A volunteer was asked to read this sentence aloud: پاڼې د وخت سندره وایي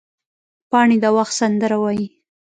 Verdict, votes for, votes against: rejected, 0, 2